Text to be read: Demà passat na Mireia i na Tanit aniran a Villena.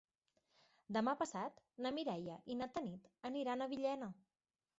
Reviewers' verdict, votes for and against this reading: accepted, 2, 0